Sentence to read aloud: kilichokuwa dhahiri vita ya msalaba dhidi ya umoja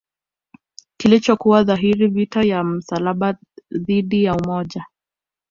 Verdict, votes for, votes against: accepted, 2, 0